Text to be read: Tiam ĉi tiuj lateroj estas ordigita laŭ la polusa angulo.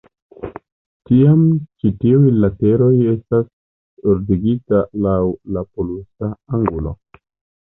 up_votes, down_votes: 0, 2